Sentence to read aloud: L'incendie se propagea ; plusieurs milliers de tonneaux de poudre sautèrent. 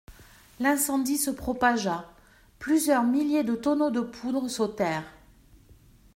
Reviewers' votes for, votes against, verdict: 2, 0, accepted